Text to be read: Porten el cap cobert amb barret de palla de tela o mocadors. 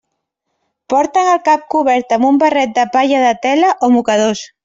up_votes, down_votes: 1, 2